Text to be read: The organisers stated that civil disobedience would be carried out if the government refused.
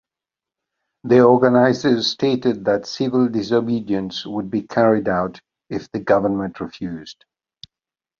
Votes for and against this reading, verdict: 2, 0, accepted